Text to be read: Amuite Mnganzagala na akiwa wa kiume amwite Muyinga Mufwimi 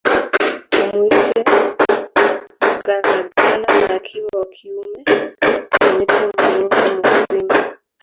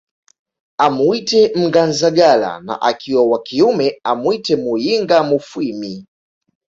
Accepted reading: second